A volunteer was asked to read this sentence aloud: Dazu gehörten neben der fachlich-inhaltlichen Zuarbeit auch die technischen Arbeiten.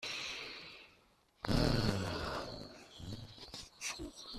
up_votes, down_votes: 0, 2